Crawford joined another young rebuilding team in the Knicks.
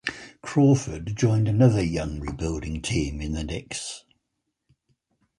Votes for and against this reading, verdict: 4, 0, accepted